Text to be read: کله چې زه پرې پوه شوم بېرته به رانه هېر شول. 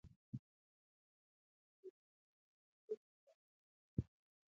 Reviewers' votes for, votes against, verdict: 1, 2, rejected